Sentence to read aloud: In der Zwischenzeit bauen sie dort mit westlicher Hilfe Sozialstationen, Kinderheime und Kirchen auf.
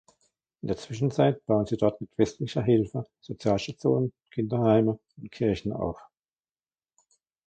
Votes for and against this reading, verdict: 1, 2, rejected